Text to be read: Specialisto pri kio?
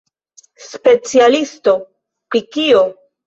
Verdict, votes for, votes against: accepted, 2, 1